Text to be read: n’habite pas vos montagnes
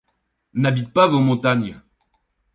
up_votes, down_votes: 2, 0